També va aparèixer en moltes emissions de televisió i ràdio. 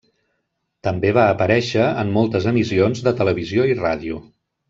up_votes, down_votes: 1, 2